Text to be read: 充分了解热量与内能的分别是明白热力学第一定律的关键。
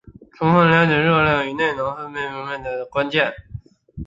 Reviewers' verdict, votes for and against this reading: rejected, 0, 2